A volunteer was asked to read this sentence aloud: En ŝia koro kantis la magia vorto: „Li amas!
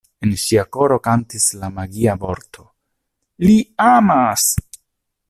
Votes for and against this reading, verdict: 2, 0, accepted